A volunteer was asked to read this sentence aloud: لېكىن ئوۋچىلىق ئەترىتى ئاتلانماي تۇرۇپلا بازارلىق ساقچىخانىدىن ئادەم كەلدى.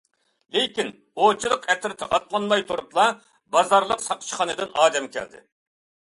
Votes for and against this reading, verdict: 2, 0, accepted